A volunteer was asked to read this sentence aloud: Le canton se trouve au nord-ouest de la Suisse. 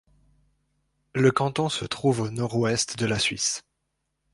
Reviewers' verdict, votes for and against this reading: accepted, 2, 0